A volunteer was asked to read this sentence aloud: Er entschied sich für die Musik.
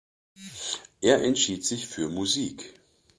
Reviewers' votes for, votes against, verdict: 1, 2, rejected